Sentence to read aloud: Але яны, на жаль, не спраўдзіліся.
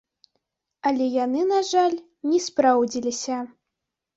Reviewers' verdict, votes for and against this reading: rejected, 1, 2